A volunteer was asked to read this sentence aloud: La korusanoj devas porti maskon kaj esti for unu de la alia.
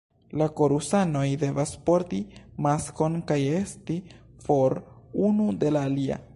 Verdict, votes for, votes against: rejected, 0, 2